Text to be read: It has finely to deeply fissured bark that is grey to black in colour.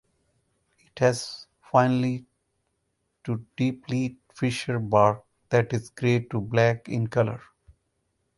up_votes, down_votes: 4, 2